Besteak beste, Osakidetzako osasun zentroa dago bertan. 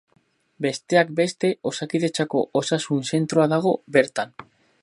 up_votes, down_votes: 4, 0